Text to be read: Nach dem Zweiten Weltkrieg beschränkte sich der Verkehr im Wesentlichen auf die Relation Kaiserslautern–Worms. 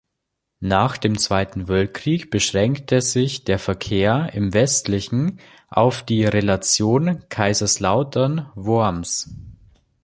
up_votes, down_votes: 1, 2